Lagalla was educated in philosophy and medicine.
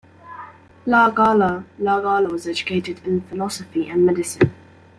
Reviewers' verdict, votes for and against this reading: rejected, 0, 2